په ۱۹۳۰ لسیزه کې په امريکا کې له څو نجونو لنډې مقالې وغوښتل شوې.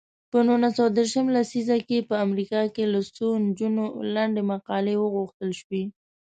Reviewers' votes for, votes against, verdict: 0, 2, rejected